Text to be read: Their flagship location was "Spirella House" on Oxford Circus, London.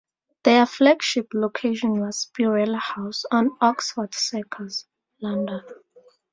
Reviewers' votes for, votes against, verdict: 2, 0, accepted